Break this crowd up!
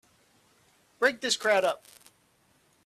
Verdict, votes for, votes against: accepted, 2, 0